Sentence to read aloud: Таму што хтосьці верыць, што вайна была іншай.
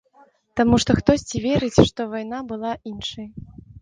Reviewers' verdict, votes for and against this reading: accepted, 2, 0